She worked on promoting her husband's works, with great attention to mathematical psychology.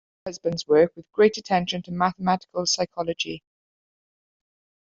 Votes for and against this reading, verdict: 0, 2, rejected